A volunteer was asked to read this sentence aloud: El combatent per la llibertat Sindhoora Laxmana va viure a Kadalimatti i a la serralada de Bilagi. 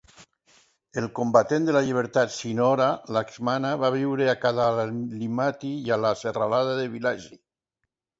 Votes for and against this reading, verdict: 1, 2, rejected